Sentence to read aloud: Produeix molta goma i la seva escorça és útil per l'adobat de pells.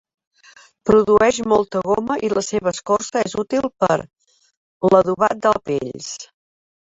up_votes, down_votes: 0, 2